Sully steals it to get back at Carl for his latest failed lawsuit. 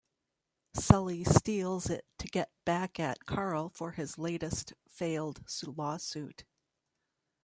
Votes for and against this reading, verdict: 1, 2, rejected